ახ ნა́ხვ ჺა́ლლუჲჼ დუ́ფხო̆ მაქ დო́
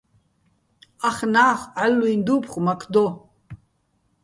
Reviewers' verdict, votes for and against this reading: rejected, 1, 2